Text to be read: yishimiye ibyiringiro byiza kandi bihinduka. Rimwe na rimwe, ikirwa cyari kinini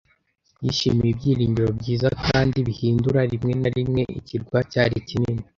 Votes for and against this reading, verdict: 1, 2, rejected